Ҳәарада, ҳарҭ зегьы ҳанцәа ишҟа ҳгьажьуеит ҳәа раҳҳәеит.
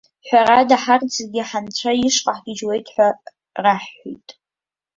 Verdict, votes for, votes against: rejected, 0, 2